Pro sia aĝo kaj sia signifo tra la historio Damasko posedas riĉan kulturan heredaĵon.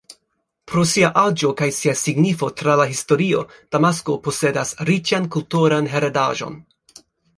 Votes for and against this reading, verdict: 3, 0, accepted